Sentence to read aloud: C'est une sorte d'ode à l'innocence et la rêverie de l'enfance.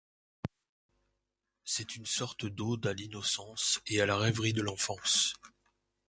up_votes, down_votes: 2, 3